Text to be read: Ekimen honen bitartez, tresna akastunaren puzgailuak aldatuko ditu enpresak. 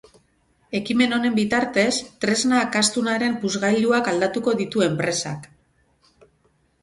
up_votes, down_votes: 2, 2